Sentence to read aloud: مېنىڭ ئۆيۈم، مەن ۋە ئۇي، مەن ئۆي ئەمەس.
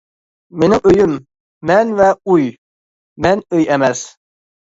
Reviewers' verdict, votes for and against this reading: accepted, 2, 0